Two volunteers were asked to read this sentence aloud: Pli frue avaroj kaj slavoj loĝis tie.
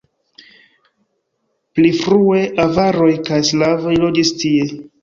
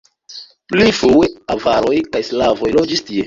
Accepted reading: first